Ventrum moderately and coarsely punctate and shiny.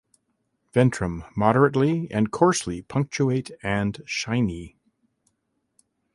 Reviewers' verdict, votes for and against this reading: rejected, 1, 2